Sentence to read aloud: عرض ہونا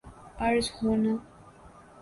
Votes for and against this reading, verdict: 2, 0, accepted